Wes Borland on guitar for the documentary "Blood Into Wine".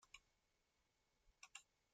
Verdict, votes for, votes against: rejected, 0, 2